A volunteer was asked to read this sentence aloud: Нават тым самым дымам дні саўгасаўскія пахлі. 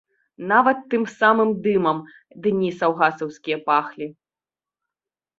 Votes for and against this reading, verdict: 3, 0, accepted